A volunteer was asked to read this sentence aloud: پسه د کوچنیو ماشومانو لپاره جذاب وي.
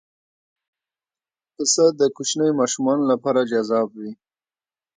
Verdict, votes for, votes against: rejected, 1, 2